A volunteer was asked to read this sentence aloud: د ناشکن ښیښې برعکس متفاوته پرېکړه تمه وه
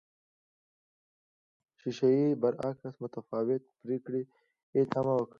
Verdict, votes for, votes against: rejected, 0, 2